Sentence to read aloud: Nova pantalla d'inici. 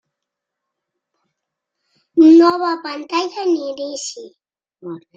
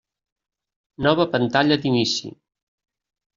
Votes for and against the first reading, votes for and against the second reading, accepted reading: 1, 2, 2, 0, second